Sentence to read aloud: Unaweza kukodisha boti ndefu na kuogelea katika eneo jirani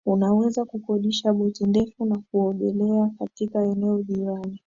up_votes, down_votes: 3, 0